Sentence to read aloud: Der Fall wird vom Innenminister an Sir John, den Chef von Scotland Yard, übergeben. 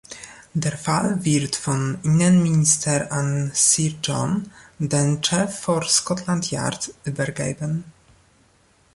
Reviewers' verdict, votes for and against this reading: rejected, 0, 2